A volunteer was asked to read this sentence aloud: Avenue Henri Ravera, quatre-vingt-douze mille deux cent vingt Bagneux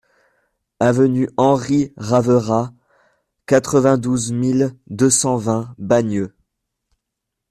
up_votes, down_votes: 2, 0